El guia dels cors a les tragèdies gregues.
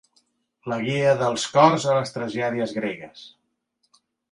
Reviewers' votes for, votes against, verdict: 1, 2, rejected